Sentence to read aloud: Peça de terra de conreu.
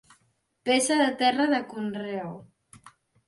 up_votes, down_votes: 2, 0